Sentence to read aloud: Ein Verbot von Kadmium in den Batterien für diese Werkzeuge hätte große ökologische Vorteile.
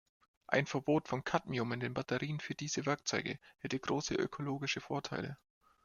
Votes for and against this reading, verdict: 2, 0, accepted